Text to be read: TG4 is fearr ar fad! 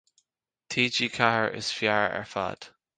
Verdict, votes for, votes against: rejected, 0, 2